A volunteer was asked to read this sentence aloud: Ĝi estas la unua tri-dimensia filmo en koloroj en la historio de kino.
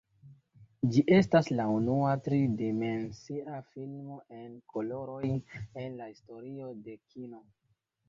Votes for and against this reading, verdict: 2, 0, accepted